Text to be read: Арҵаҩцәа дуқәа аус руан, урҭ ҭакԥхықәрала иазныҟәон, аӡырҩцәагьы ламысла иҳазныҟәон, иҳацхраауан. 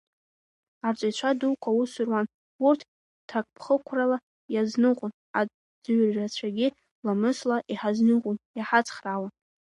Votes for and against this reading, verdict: 1, 2, rejected